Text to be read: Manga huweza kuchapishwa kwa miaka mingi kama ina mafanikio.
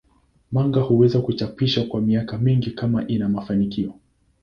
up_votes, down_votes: 2, 0